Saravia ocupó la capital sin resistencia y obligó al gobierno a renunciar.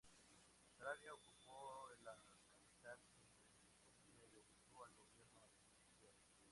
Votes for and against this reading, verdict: 2, 0, accepted